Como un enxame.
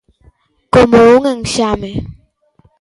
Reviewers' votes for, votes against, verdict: 2, 1, accepted